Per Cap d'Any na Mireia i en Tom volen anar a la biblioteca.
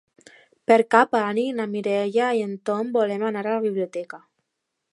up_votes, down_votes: 0, 2